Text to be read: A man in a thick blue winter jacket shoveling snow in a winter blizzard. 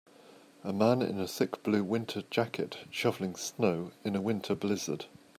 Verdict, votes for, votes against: accepted, 2, 0